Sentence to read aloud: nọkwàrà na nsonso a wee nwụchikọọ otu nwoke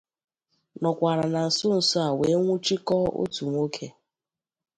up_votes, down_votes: 2, 0